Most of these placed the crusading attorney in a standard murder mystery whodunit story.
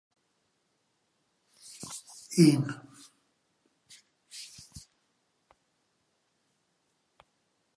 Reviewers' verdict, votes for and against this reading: rejected, 0, 2